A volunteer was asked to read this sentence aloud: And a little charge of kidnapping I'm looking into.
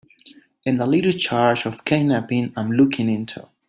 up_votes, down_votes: 0, 2